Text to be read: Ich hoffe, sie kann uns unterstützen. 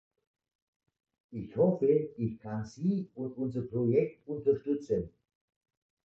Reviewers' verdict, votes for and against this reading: rejected, 0, 2